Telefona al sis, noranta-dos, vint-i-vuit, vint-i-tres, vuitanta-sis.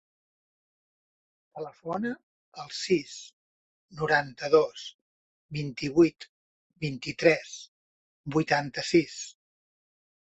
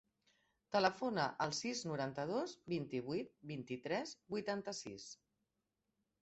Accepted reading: second